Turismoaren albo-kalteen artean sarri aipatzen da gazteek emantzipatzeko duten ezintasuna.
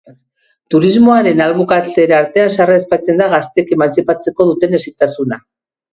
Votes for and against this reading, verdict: 0, 2, rejected